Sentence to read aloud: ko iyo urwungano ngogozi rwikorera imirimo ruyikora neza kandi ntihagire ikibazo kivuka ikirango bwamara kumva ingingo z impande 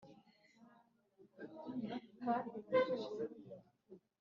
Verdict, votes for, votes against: rejected, 1, 2